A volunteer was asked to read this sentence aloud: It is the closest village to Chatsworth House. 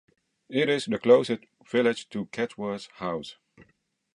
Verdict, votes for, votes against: rejected, 1, 2